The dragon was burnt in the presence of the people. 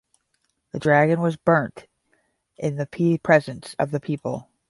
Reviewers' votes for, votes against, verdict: 0, 10, rejected